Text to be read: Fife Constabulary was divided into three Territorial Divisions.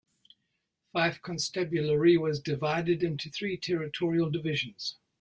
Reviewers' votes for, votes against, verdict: 2, 0, accepted